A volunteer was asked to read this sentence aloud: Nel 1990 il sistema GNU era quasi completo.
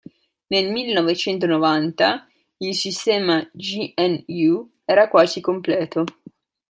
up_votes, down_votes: 0, 2